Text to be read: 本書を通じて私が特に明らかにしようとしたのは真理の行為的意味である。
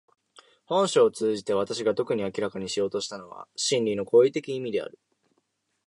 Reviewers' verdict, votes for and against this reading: accepted, 2, 0